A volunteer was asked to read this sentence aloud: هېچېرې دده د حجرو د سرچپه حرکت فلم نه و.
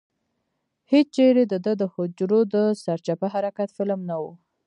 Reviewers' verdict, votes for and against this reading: rejected, 1, 2